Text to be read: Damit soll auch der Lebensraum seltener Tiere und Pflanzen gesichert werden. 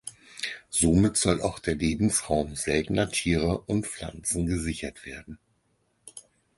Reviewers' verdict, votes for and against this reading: rejected, 0, 4